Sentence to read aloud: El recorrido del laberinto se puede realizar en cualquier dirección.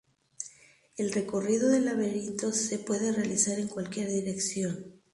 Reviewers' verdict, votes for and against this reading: accepted, 2, 0